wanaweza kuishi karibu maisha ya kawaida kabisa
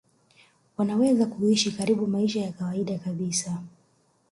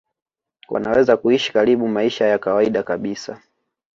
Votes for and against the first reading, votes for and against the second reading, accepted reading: 0, 2, 2, 0, second